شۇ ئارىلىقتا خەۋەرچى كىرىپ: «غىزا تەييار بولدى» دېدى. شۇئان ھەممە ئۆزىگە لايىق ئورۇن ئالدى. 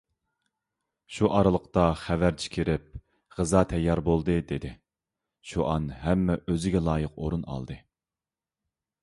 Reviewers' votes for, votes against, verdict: 2, 0, accepted